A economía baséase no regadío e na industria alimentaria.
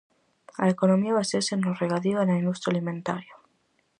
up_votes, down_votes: 4, 0